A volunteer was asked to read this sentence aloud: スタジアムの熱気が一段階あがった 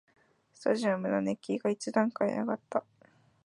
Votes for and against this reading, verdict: 2, 0, accepted